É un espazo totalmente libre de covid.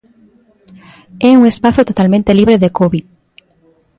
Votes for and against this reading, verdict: 2, 0, accepted